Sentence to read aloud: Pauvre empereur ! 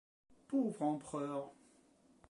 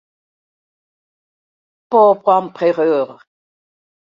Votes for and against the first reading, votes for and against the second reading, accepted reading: 2, 0, 0, 2, first